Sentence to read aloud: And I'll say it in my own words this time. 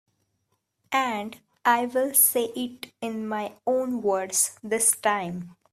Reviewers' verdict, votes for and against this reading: rejected, 0, 2